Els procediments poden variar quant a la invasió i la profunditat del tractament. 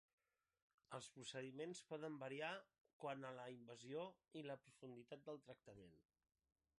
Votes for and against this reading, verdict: 3, 0, accepted